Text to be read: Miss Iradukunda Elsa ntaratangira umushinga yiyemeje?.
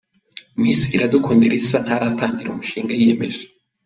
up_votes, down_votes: 2, 0